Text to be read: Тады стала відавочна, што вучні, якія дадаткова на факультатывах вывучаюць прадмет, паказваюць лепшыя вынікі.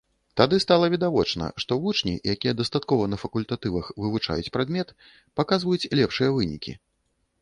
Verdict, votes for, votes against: rejected, 1, 2